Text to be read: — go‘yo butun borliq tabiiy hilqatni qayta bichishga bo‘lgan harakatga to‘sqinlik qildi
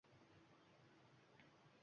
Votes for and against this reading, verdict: 1, 2, rejected